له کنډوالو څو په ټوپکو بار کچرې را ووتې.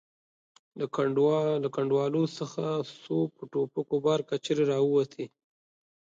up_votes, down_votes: 2, 5